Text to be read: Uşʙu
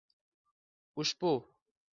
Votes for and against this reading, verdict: 1, 2, rejected